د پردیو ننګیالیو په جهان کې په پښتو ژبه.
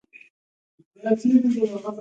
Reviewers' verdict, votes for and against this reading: rejected, 0, 2